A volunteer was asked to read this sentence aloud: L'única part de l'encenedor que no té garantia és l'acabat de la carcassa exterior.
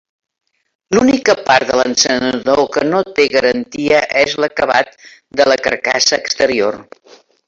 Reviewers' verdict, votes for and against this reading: rejected, 0, 2